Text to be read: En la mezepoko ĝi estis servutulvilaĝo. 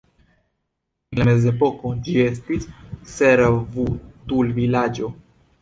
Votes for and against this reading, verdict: 1, 2, rejected